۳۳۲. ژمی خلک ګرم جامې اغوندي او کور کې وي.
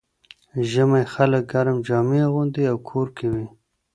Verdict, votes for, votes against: rejected, 0, 2